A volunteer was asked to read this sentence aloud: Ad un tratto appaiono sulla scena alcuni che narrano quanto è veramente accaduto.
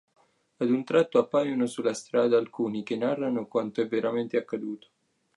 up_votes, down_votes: 0, 2